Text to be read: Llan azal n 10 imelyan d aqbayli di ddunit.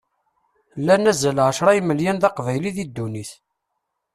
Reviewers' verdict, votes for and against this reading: rejected, 0, 2